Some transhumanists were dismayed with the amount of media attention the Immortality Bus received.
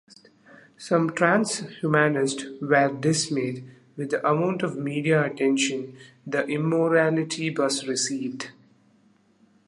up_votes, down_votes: 1, 2